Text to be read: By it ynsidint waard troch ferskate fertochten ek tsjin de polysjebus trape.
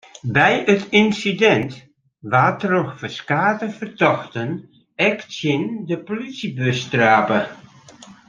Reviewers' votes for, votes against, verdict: 2, 1, accepted